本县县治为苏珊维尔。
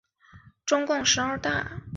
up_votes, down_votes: 1, 2